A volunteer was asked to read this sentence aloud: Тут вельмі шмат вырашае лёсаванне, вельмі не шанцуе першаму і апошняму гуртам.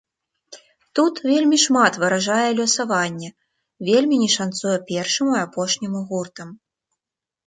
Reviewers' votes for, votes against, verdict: 0, 2, rejected